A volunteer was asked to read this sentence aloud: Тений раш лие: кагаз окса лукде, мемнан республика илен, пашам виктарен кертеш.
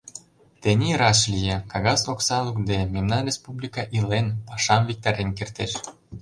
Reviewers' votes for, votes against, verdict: 2, 0, accepted